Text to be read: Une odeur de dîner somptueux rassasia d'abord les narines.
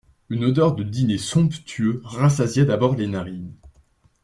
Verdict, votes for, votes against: accepted, 2, 0